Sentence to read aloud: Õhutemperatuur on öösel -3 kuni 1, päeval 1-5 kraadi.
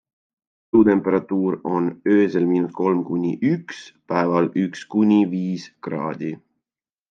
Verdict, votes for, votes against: rejected, 0, 2